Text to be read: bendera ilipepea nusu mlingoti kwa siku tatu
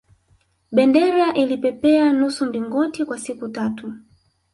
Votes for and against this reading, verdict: 1, 2, rejected